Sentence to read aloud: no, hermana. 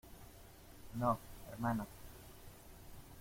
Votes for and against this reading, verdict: 2, 1, accepted